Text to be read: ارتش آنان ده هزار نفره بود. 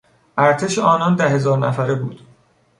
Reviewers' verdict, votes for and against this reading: accepted, 2, 0